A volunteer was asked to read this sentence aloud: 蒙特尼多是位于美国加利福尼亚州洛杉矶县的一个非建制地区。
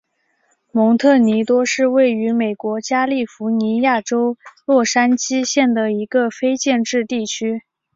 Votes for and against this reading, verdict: 6, 0, accepted